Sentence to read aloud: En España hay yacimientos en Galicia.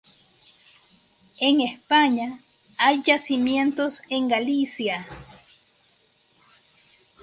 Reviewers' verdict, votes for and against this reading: accepted, 2, 0